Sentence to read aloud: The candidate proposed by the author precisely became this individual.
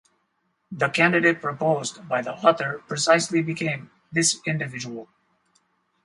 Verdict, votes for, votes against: accepted, 2, 0